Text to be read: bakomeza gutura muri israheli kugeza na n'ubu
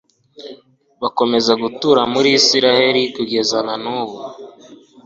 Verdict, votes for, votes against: accepted, 2, 1